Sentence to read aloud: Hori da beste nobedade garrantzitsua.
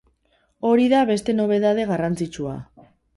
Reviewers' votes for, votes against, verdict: 2, 0, accepted